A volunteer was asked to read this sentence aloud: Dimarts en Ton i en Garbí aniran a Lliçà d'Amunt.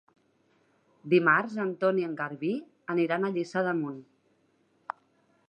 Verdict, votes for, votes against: accepted, 2, 0